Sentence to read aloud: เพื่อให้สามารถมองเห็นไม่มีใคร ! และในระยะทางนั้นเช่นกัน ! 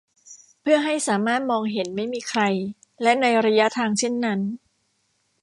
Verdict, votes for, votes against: rejected, 0, 2